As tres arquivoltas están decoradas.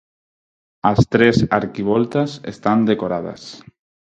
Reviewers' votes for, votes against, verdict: 4, 0, accepted